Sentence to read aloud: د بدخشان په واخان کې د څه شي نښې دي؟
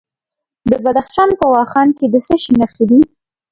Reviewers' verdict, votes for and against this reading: accepted, 2, 0